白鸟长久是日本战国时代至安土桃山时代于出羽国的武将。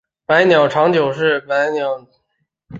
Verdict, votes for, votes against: rejected, 0, 2